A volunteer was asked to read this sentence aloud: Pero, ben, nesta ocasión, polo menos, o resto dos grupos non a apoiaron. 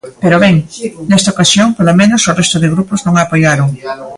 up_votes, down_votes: 0, 2